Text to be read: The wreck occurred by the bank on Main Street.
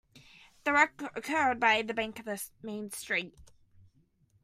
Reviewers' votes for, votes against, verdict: 0, 2, rejected